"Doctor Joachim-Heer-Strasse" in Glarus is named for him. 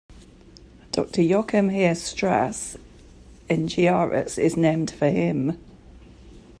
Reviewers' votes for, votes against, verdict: 1, 3, rejected